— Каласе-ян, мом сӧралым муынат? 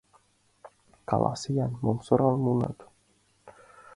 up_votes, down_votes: 2, 1